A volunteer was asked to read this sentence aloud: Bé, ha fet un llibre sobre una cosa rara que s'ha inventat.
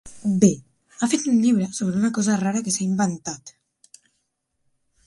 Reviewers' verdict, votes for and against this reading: accepted, 4, 0